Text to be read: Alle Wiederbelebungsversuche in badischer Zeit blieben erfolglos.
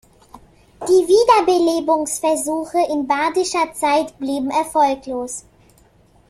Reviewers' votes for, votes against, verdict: 0, 3, rejected